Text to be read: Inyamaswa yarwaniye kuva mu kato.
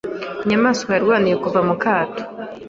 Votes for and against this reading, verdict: 2, 0, accepted